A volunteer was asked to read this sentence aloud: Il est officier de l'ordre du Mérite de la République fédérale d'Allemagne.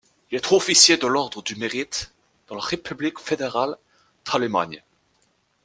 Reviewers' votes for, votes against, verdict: 1, 2, rejected